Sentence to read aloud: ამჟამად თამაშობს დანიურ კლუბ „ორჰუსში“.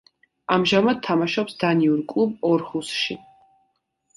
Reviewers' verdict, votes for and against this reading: accepted, 2, 0